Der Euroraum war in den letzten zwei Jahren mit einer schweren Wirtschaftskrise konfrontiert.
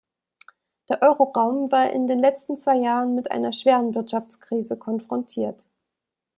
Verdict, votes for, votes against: accepted, 2, 0